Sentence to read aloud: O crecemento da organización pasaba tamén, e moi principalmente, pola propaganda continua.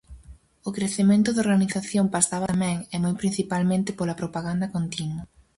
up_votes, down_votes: 0, 4